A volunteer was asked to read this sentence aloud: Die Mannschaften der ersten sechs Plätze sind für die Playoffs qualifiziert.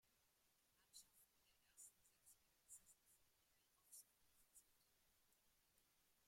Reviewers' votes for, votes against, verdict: 0, 2, rejected